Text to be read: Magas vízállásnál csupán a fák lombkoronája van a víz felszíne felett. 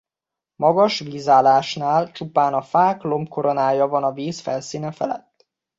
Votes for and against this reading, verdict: 2, 0, accepted